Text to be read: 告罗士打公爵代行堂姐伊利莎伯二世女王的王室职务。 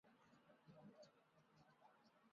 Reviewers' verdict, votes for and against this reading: rejected, 1, 2